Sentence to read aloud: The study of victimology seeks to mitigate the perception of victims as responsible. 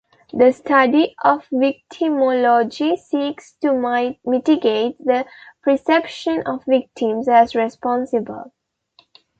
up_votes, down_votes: 1, 2